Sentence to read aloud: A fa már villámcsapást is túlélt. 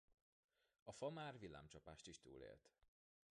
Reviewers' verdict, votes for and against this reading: rejected, 1, 2